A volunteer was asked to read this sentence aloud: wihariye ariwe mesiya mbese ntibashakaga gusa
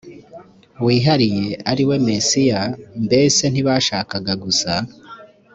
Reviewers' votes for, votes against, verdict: 2, 0, accepted